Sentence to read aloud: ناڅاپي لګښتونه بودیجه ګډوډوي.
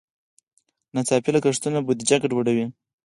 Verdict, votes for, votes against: rejected, 0, 4